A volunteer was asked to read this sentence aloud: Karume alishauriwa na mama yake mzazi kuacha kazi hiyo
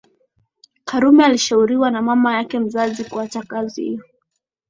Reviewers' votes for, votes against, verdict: 8, 2, accepted